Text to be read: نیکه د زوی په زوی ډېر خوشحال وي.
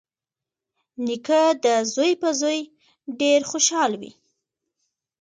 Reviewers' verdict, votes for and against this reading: rejected, 0, 2